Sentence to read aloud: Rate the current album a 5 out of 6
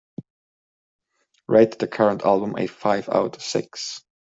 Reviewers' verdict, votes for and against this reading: rejected, 0, 2